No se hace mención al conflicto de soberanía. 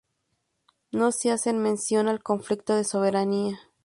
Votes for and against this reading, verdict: 0, 2, rejected